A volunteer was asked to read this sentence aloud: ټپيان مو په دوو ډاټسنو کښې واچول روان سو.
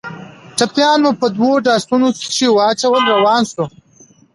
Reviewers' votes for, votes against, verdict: 2, 1, accepted